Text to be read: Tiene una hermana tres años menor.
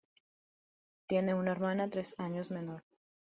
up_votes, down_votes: 0, 2